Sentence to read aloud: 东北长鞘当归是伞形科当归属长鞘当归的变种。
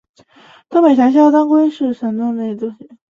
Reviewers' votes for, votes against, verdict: 0, 2, rejected